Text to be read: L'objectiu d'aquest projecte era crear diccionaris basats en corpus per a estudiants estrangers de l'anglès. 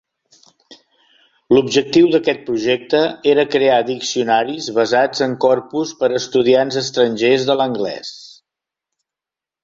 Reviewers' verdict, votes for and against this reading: accepted, 2, 1